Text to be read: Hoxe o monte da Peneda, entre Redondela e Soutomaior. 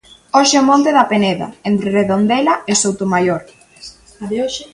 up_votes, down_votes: 0, 2